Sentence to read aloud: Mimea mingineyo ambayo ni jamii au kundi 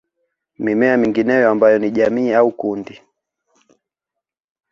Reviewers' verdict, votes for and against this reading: accepted, 2, 0